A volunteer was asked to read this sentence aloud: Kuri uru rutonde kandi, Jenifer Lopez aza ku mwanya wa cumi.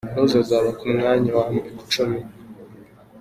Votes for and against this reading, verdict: 0, 2, rejected